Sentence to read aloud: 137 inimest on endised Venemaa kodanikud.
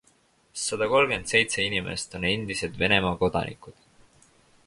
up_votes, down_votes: 0, 2